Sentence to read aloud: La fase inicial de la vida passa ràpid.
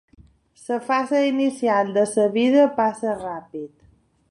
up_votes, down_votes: 2, 0